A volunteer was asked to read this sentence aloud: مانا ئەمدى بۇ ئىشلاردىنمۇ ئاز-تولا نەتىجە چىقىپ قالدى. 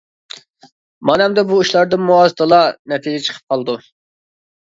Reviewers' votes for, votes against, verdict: 0, 2, rejected